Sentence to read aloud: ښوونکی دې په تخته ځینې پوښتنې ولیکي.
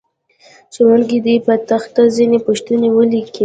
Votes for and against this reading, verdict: 0, 2, rejected